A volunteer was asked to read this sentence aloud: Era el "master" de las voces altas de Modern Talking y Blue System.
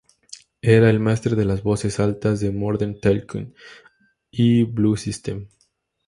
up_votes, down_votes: 2, 2